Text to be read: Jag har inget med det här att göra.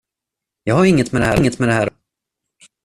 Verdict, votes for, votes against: rejected, 0, 2